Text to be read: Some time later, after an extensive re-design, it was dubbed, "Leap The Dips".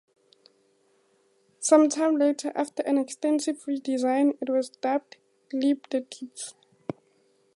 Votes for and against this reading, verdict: 2, 0, accepted